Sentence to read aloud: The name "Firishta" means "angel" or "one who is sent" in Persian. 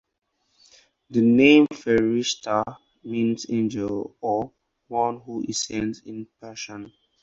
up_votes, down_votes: 4, 0